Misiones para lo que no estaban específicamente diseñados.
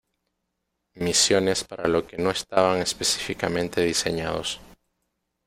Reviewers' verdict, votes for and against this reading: accepted, 2, 0